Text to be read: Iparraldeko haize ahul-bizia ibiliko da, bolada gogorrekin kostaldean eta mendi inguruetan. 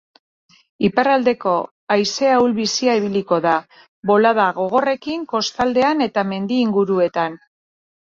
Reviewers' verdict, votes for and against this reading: accepted, 3, 0